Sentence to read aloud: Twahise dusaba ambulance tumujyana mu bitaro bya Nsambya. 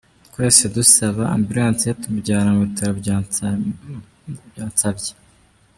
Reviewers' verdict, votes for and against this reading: rejected, 0, 2